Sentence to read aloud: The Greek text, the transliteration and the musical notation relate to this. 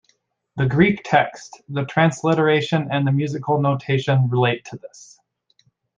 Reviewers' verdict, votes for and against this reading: accepted, 2, 0